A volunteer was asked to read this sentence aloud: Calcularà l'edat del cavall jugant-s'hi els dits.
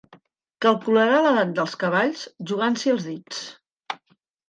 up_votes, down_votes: 1, 2